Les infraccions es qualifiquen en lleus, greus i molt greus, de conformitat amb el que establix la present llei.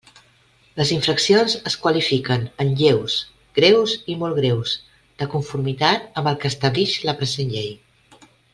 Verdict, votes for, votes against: accepted, 2, 0